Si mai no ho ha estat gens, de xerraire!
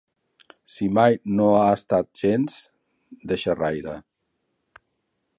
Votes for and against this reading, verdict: 0, 2, rejected